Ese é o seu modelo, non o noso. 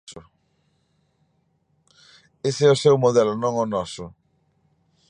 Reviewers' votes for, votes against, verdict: 1, 2, rejected